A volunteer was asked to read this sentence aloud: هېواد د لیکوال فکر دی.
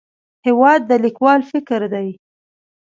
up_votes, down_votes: 1, 2